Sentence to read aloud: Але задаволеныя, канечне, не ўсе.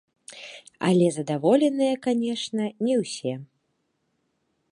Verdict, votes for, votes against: rejected, 1, 2